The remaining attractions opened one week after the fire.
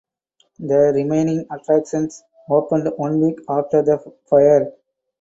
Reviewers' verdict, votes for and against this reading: accepted, 2, 0